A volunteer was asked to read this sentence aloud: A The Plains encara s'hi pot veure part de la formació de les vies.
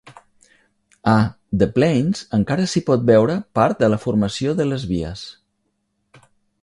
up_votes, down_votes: 3, 0